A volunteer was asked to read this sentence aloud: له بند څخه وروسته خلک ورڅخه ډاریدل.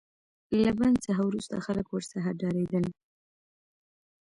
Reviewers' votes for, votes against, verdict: 1, 2, rejected